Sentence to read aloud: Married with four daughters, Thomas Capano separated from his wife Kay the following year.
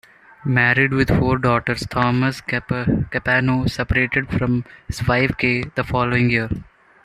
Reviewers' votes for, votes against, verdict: 0, 2, rejected